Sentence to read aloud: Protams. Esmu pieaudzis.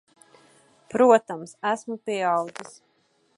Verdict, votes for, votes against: accepted, 2, 0